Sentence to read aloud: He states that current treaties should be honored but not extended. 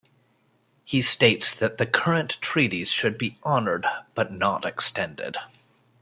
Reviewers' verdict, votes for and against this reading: accepted, 2, 0